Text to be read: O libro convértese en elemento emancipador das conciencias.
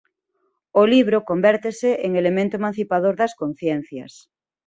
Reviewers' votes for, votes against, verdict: 2, 0, accepted